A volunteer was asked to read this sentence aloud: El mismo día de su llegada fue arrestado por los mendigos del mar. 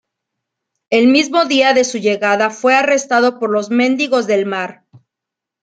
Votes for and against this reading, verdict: 1, 2, rejected